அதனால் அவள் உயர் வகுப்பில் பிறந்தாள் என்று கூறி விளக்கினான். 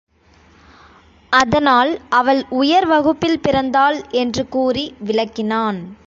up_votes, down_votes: 5, 0